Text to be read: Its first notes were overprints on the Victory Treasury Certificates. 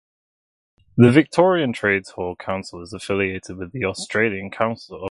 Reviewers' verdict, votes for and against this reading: rejected, 0, 2